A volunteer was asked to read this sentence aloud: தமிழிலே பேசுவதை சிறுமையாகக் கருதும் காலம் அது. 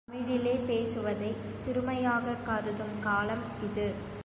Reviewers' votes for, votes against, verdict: 1, 3, rejected